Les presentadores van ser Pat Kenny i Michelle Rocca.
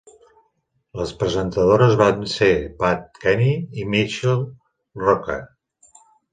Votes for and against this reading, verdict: 2, 1, accepted